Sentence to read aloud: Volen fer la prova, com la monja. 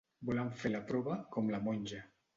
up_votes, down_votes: 0, 2